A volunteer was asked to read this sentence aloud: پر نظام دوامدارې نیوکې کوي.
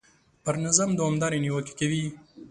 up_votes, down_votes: 2, 0